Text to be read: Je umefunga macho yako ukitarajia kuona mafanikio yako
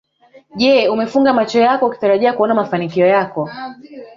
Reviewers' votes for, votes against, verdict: 4, 2, accepted